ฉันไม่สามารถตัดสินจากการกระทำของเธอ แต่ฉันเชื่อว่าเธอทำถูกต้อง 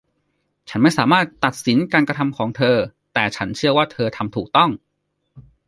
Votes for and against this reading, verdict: 1, 2, rejected